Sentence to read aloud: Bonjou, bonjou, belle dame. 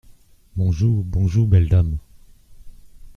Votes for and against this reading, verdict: 2, 1, accepted